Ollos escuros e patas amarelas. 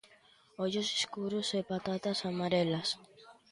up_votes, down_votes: 0, 2